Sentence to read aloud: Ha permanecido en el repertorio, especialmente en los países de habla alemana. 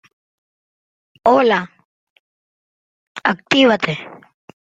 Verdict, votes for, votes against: rejected, 0, 2